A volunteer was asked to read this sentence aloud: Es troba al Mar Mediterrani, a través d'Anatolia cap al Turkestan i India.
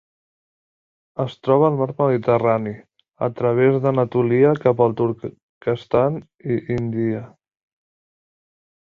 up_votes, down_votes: 0, 2